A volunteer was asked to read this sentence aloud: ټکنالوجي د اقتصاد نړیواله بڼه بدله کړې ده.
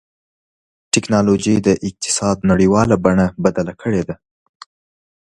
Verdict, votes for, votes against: accepted, 2, 0